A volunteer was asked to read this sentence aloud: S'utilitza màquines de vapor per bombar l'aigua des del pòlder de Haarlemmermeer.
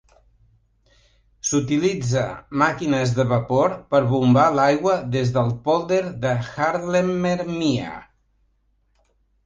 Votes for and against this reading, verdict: 2, 0, accepted